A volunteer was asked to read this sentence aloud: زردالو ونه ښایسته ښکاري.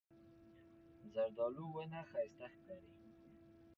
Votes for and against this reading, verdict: 1, 2, rejected